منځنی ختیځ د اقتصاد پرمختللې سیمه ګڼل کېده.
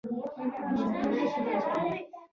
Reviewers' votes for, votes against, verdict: 0, 2, rejected